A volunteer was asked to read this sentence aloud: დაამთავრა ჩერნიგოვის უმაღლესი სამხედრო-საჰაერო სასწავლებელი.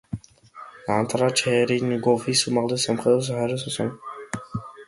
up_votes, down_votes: 1, 2